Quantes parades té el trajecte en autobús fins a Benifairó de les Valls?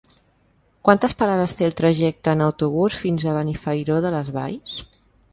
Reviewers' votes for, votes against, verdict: 3, 0, accepted